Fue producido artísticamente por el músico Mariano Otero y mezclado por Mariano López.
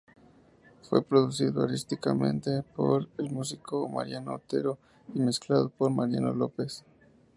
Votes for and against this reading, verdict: 0, 2, rejected